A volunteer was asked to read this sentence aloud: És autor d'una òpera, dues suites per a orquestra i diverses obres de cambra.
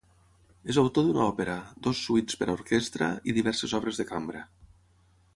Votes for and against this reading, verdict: 0, 6, rejected